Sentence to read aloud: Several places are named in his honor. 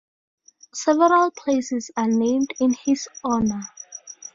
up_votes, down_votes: 2, 0